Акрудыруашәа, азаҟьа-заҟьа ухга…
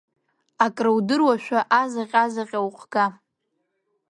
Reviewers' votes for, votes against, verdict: 2, 1, accepted